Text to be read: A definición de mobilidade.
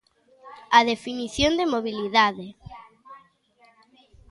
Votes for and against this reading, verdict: 2, 0, accepted